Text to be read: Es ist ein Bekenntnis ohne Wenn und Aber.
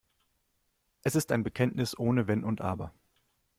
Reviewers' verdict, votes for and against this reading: accepted, 2, 0